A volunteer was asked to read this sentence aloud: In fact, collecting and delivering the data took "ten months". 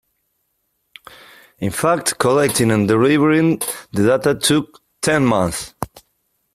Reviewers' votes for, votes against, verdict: 2, 0, accepted